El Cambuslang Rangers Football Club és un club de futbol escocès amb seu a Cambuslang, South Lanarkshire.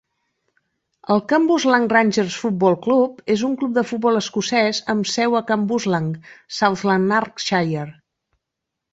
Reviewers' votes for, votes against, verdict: 2, 0, accepted